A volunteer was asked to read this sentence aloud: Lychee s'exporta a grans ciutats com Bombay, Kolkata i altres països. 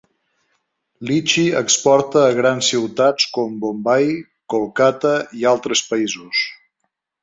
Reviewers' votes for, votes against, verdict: 1, 2, rejected